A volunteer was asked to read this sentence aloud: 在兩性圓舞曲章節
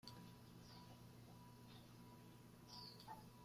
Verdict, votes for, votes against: rejected, 0, 2